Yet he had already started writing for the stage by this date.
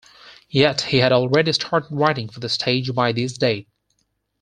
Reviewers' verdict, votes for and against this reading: accepted, 4, 0